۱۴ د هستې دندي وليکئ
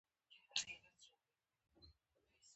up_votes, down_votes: 0, 2